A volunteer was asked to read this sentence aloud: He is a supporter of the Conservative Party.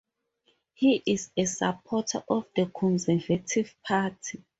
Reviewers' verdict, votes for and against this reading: accepted, 2, 0